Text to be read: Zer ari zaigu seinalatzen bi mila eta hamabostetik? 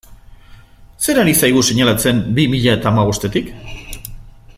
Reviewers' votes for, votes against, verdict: 2, 0, accepted